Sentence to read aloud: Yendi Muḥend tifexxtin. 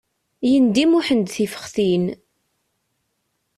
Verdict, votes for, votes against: accepted, 2, 0